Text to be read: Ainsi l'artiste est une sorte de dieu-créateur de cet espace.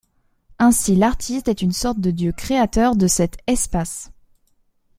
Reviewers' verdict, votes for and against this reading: accepted, 2, 0